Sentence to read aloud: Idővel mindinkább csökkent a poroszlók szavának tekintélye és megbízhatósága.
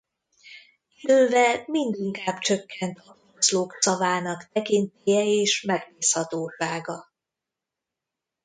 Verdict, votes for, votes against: rejected, 0, 2